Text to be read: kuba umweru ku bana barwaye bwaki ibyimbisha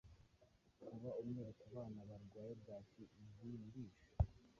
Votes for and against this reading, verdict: 1, 2, rejected